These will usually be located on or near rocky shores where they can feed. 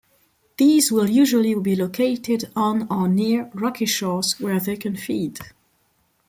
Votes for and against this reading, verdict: 2, 0, accepted